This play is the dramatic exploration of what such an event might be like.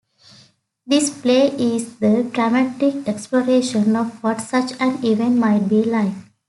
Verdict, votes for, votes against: accepted, 2, 0